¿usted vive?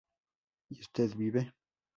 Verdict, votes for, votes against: rejected, 0, 2